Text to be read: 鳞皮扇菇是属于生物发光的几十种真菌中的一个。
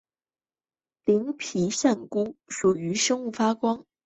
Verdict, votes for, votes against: rejected, 0, 2